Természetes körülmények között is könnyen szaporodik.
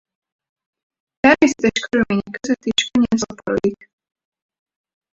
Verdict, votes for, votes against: rejected, 0, 4